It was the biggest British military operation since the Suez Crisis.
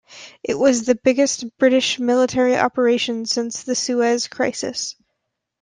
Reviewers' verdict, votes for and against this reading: accepted, 2, 0